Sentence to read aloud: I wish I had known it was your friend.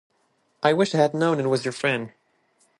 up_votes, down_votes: 3, 0